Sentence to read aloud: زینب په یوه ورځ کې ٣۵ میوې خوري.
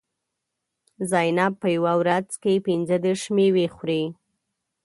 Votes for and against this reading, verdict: 0, 2, rejected